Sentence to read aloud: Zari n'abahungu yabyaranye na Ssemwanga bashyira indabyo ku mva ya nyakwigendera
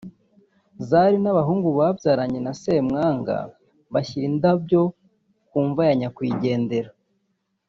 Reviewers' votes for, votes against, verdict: 1, 2, rejected